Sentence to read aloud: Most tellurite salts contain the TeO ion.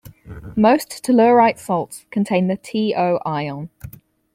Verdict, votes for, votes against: accepted, 4, 0